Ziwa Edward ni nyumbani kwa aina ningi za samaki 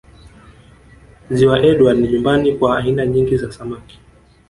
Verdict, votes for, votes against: rejected, 1, 2